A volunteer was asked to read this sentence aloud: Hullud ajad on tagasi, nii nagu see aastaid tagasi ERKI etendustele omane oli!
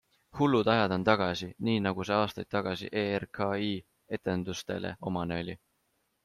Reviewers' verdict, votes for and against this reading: accepted, 2, 0